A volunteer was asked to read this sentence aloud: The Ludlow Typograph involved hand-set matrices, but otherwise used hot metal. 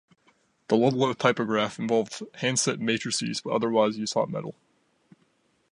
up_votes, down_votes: 2, 0